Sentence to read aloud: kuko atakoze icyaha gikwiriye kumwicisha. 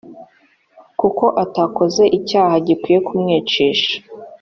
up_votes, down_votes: 2, 0